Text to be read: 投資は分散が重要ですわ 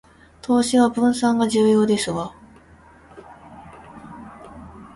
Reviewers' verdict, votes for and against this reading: rejected, 0, 2